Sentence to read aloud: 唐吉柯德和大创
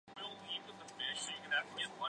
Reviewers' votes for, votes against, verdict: 0, 2, rejected